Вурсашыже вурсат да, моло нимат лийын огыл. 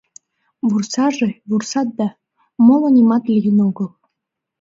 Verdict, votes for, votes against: rejected, 1, 2